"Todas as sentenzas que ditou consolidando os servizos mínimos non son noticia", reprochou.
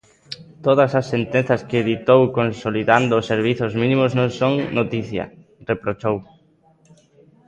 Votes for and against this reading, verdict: 1, 2, rejected